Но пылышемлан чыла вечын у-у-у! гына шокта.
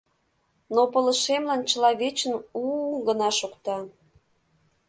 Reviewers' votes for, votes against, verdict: 2, 0, accepted